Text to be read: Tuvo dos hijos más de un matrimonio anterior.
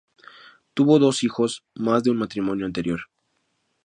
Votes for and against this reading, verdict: 2, 0, accepted